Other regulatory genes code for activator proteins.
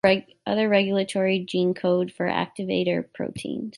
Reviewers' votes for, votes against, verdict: 0, 2, rejected